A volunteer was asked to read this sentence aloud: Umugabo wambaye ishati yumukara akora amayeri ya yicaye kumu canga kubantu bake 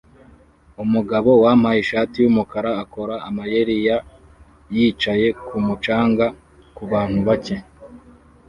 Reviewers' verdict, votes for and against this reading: rejected, 1, 2